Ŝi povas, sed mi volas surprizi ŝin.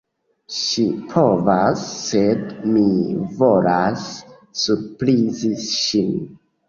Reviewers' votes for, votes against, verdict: 2, 1, accepted